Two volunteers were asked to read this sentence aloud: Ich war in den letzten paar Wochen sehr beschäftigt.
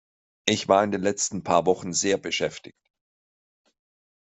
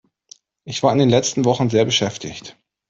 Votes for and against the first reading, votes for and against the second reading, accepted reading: 2, 0, 1, 2, first